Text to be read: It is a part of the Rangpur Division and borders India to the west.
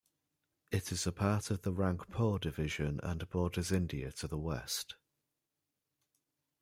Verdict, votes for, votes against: accepted, 2, 0